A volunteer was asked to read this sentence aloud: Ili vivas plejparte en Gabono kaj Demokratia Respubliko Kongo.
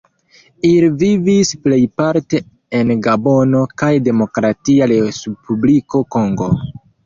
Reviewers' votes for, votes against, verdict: 2, 0, accepted